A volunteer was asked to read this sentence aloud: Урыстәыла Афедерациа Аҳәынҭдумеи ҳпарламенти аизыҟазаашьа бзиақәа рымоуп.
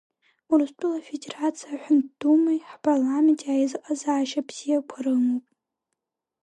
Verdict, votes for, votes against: rejected, 1, 2